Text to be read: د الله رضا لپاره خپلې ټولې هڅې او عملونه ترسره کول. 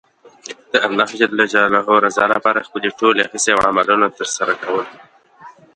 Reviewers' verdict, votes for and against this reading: rejected, 0, 2